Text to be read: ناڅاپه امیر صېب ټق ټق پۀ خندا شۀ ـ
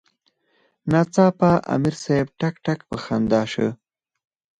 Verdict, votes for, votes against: accepted, 4, 2